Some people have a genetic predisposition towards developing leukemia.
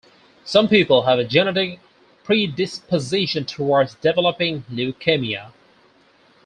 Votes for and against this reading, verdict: 2, 4, rejected